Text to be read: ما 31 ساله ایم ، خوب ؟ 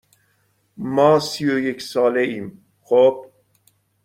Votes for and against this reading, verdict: 0, 2, rejected